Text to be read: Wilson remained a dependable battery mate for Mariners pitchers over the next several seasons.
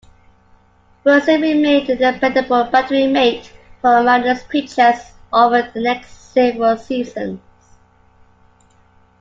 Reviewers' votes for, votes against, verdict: 1, 2, rejected